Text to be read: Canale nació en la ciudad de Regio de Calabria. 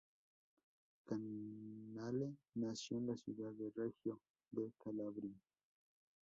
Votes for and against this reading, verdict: 0, 2, rejected